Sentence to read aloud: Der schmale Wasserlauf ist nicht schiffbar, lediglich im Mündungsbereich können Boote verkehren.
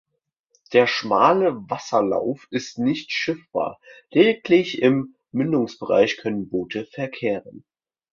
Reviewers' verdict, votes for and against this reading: accepted, 2, 0